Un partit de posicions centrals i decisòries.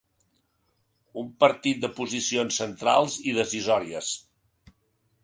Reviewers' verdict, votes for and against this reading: accepted, 3, 0